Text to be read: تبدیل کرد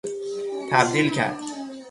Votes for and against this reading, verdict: 3, 3, rejected